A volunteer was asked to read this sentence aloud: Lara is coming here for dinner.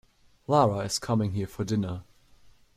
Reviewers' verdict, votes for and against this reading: accepted, 2, 0